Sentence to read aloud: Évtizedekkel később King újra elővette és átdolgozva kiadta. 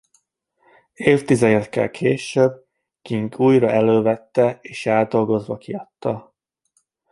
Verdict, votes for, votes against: rejected, 1, 2